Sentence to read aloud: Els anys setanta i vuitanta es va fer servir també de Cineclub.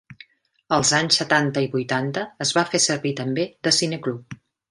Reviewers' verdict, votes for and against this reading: accepted, 3, 0